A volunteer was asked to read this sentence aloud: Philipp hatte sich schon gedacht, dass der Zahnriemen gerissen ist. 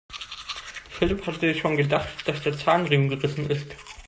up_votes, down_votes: 0, 2